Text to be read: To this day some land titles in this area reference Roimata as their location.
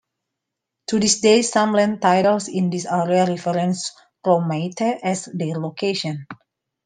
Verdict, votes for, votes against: accepted, 2, 0